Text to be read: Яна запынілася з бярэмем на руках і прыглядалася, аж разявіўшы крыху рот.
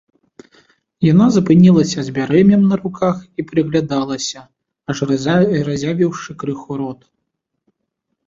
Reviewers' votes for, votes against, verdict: 1, 2, rejected